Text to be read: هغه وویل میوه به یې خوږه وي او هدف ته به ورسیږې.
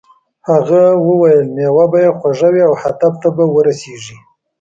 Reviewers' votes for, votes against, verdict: 2, 0, accepted